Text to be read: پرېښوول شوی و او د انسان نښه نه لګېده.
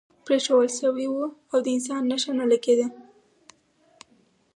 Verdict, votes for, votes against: accepted, 4, 0